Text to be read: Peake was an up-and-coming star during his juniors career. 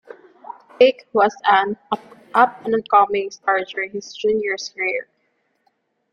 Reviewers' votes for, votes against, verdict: 0, 2, rejected